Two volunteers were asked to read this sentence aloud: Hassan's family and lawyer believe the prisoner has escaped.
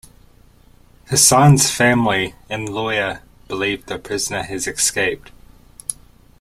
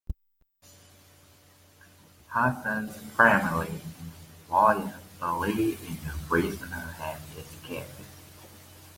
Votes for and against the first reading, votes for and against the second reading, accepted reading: 2, 0, 0, 2, first